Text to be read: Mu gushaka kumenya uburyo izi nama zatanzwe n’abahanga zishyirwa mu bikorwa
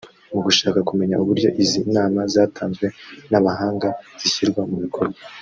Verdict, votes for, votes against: rejected, 1, 2